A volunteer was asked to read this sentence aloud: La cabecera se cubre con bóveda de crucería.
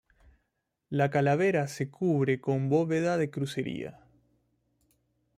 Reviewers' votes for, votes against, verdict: 0, 2, rejected